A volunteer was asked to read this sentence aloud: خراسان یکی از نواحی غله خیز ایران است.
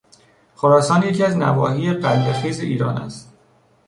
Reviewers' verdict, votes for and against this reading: rejected, 0, 2